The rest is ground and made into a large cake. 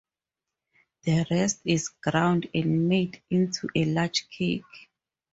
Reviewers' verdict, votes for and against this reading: rejected, 2, 2